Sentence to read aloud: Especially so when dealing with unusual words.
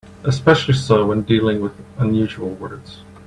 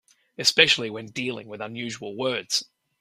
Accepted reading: first